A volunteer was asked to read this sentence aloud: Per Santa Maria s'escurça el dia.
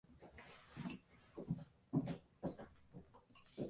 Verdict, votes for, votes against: rejected, 0, 2